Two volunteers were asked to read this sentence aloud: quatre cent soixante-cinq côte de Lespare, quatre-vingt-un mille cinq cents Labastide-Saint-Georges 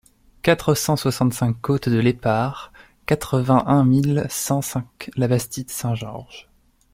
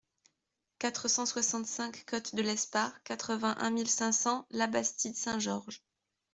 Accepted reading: second